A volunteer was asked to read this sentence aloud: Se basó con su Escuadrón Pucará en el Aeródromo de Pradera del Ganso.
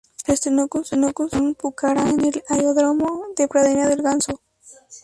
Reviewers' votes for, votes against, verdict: 0, 2, rejected